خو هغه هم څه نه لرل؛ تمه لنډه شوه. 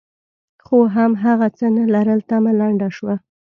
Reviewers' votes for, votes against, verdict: 2, 0, accepted